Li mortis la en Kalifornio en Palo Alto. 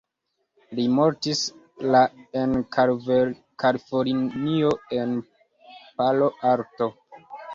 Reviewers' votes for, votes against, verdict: 1, 2, rejected